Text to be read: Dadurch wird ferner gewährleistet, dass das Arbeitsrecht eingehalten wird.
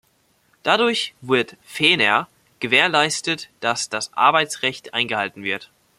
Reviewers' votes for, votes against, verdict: 1, 2, rejected